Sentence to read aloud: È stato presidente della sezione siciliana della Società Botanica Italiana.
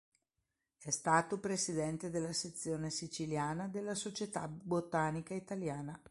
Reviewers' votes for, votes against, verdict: 3, 0, accepted